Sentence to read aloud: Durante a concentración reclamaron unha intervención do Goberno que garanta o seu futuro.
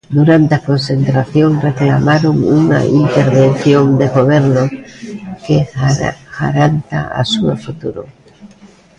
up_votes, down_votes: 0, 2